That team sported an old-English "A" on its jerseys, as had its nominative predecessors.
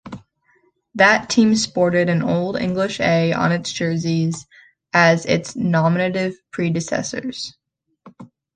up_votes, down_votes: 0, 3